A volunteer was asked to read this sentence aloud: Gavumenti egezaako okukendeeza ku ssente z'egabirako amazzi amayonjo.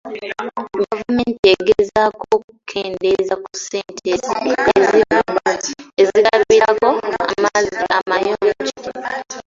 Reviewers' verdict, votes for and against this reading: rejected, 0, 2